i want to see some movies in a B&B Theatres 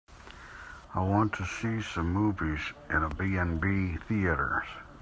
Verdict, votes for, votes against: accepted, 2, 1